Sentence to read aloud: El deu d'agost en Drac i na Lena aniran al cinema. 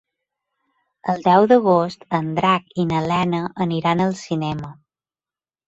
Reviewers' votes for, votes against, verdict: 4, 0, accepted